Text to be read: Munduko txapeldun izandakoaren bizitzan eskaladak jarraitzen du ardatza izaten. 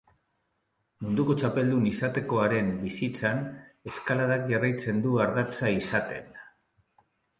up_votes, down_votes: 0, 3